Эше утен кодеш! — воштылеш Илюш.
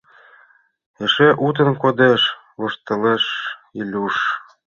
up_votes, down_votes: 2, 0